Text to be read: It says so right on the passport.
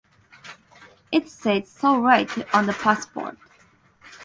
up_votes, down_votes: 2, 2